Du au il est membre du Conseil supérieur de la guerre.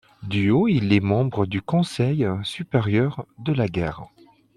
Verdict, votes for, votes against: accepted, 2, 0